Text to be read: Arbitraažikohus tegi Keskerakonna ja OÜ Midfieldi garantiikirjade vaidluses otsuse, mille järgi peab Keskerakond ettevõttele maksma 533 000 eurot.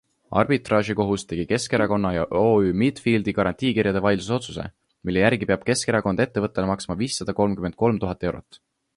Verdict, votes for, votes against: rejected, 0, 2